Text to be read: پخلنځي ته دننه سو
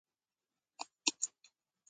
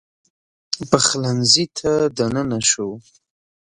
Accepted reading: second